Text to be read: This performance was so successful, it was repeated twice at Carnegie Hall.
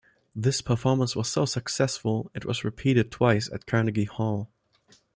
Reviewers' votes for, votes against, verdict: 1, 2, rejected